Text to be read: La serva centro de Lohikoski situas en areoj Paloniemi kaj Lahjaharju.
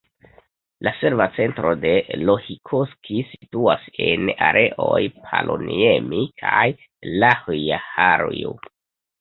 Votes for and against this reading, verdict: 1, 2, rejected